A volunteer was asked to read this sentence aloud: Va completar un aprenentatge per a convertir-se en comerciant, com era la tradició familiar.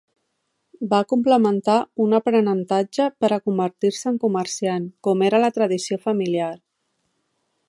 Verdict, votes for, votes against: rejected, 1, 2